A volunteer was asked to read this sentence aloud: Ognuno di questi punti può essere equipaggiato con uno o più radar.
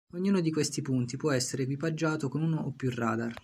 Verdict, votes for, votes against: accepted, 4, 0